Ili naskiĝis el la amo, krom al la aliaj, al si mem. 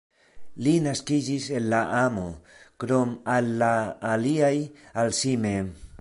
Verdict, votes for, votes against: rejected, 1, 2